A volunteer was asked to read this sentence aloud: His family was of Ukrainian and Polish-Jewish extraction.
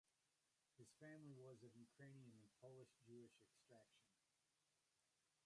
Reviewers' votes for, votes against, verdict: 0, 2, rejected